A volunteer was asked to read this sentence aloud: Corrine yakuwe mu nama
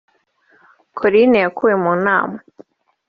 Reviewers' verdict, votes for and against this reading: rejected, 0, 2